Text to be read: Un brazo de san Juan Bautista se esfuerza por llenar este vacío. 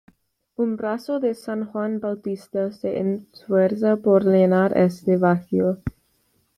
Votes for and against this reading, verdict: 1, 2, rejected